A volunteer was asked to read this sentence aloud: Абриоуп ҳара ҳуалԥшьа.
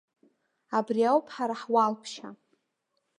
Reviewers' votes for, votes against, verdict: 2, 0, accepted